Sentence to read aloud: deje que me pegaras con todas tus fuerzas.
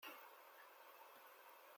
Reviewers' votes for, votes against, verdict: 0, 2, rejected